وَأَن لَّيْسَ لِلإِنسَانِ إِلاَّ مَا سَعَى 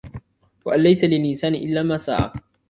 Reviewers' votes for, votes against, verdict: 2, 1, accepted